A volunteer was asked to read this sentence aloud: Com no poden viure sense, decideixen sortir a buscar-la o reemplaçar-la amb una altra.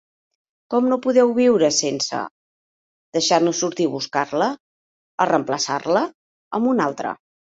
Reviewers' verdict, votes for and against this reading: rejected, 1, 2